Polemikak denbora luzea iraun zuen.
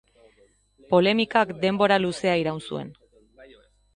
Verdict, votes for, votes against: accepted, 3, 0